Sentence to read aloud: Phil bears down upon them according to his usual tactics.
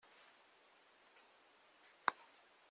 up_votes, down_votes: 0, 2